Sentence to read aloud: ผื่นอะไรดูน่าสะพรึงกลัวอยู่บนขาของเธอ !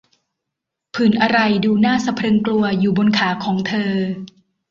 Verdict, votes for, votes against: accepted, 2, 0